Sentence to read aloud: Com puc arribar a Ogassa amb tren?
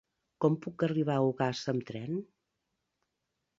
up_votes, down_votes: 2, 0